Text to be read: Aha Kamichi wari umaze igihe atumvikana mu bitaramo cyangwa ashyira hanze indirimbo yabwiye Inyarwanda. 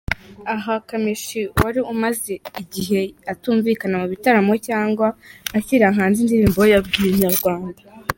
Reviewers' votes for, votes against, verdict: 2, 1, accepted